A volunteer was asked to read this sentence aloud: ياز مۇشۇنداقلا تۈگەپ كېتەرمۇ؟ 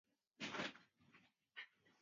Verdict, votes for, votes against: rejected, 1, 2